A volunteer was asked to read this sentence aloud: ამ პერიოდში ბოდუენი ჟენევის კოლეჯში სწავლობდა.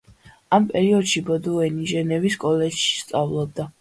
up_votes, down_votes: 2, 0